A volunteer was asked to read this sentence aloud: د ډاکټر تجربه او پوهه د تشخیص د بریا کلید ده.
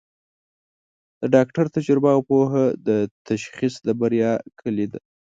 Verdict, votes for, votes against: accepted, 2, 0